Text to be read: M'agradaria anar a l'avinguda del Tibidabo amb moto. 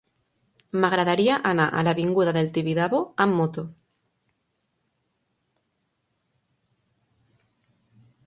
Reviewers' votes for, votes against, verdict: 3, 0, accepted